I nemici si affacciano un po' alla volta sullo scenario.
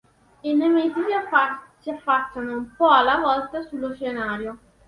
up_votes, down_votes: 0, 2